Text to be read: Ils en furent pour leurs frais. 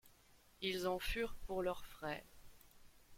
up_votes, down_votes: 2, 1